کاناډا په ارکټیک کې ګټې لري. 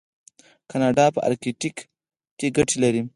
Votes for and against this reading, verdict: 4, 0, accepted